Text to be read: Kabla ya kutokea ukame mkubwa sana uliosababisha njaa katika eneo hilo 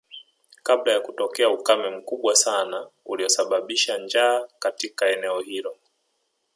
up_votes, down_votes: 2, 1